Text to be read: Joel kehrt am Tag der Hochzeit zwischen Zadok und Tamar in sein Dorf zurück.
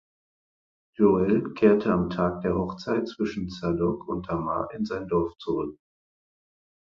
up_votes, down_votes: 2, 4